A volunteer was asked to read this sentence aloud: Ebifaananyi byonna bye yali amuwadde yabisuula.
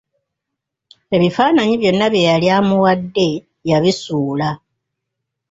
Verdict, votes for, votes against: accepted, 2, 0